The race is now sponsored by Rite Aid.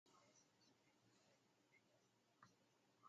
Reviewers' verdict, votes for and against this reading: rejected, 0, 2